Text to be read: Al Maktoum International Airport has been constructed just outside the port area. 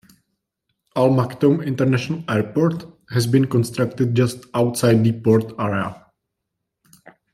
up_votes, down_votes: 2, 0